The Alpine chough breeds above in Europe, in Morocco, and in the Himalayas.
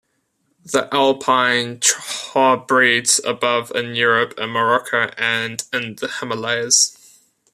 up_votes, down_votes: 1, 2